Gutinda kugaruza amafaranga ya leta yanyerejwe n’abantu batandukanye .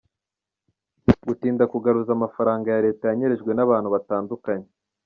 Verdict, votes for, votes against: accepted, 2, 0